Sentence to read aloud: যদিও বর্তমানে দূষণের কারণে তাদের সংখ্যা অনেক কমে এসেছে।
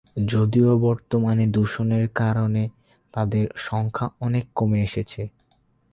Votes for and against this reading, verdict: 4, 0, accepted